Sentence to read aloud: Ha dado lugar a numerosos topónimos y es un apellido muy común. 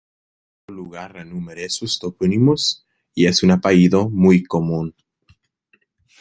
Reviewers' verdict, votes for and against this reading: rejected, 0, 2